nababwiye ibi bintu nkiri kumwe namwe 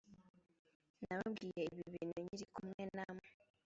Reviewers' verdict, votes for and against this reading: rejected, 1, 2